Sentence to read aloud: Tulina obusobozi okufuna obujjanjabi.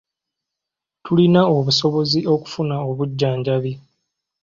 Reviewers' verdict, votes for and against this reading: accepted, 2, 0